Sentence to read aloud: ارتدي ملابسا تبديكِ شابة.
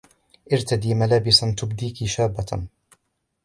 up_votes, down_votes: 2, 1